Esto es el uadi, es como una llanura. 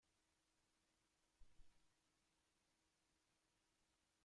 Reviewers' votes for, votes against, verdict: 0, 2, rejected